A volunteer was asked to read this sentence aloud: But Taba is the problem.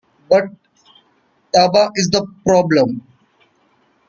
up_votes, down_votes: 0, 2